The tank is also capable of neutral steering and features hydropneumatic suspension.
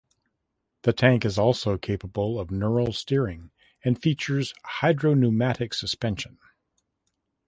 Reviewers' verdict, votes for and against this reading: rejected, 0, 2